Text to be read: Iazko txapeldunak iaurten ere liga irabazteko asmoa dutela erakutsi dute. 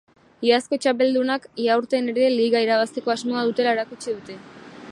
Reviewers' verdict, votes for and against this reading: accepted, 2, 1